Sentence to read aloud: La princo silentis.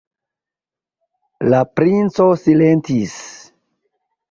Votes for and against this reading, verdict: 2, 1, accepted